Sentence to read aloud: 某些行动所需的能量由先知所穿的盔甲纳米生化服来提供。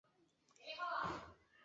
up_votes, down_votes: 0, 2